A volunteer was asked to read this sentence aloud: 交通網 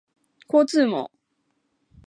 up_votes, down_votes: 2, 0